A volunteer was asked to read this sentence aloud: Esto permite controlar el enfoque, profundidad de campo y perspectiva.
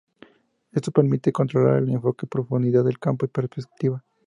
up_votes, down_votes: 0, 4